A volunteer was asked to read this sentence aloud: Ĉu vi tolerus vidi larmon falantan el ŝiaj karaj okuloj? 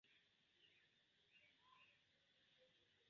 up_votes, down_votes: 0, 2